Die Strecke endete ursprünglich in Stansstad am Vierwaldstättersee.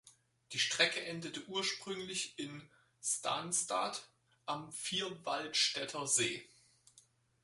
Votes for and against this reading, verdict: 4, 0, accepted